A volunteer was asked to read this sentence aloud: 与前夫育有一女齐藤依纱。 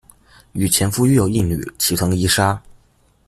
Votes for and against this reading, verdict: 2, 0, accepted